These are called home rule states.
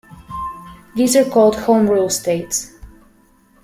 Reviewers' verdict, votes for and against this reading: accepted, 2, 0